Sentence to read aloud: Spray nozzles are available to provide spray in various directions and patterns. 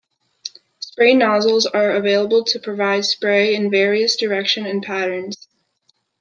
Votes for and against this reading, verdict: 2, 0, accepted